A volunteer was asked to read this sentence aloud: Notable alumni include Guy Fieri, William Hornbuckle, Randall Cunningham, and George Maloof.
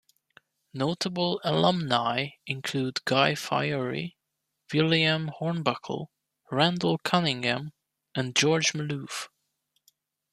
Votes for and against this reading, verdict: 2, 0, accepted